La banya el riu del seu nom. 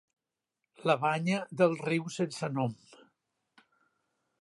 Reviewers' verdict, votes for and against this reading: rejected, 1, 2